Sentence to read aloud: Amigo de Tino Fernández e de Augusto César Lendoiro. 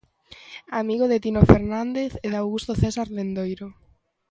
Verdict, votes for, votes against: accepted, 3, 0